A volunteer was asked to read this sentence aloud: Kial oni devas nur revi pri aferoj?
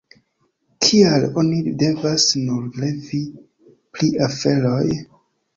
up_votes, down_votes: 2, 1